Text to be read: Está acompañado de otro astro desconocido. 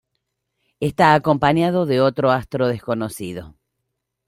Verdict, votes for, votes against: rejected, 0, 2